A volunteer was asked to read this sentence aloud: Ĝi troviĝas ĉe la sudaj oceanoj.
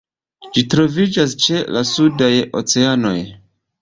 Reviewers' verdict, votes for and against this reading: accepted, 2, 0